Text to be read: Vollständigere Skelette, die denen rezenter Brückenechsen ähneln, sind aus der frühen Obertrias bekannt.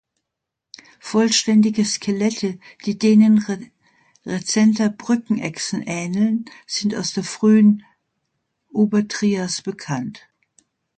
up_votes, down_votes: 0, 2